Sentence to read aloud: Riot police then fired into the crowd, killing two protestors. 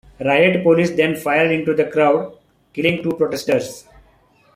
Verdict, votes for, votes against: rejected, 1, 2